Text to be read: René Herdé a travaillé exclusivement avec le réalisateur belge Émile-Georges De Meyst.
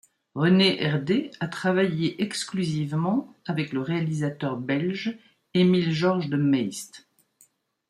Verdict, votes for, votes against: accepted, 2, 1